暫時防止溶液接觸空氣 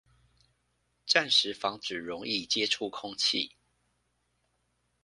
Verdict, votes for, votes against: accepted, 2, 0